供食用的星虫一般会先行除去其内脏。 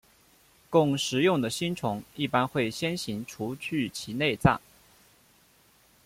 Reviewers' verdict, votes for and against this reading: accepted, 2, 0